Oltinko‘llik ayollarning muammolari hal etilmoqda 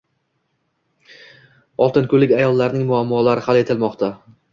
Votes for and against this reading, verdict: 2, 0, accepted